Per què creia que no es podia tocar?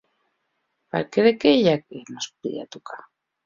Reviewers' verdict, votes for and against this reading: rejected, 0, 2